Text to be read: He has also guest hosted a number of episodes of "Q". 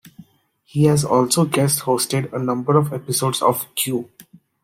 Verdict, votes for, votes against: accepted, 2, 0